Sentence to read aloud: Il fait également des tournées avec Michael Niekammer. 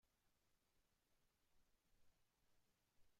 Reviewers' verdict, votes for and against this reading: rejected, 1, 2